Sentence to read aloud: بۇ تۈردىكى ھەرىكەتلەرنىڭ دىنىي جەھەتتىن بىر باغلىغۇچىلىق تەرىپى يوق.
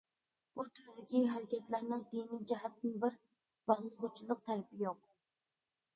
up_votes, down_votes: 0, 2